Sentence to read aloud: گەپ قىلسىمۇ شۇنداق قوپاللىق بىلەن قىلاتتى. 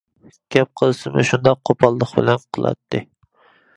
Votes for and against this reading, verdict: 2, 1, accepted